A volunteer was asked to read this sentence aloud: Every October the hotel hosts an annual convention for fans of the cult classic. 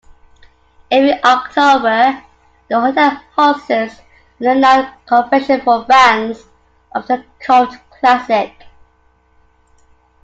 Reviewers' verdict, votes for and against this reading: accepted, 2, 1